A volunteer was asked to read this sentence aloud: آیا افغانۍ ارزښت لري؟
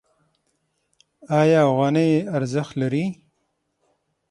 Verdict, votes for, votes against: accepted, 6, 0